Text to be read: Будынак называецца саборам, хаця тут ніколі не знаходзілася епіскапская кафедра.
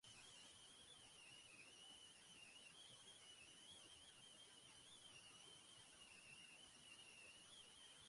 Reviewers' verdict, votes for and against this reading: rejected, 0, 2